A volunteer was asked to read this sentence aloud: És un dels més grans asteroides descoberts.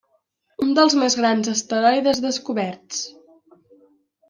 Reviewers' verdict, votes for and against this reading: rejected, 1, 2